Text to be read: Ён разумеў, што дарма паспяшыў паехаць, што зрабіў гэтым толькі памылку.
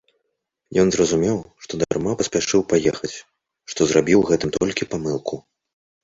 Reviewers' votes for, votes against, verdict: 1, 2, rejected